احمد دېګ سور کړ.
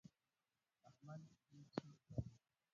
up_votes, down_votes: 1, 2